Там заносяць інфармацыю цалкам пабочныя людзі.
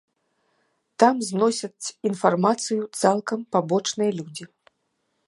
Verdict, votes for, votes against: rejected, 1, 2